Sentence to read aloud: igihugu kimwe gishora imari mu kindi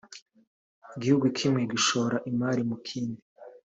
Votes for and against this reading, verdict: 2, 0, accepted